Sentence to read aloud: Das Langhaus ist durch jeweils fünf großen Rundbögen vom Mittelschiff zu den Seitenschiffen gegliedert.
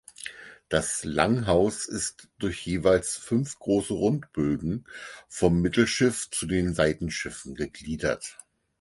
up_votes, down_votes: 4, 0